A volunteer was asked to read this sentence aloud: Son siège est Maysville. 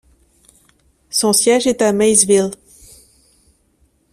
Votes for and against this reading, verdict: 0, 2, rejected